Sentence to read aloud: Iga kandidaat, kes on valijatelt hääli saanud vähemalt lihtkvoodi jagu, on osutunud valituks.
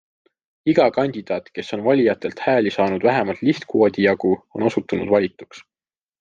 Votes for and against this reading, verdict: 2, 0, accepted